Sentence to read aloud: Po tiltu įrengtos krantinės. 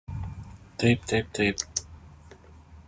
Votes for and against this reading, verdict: 0, 2, rejected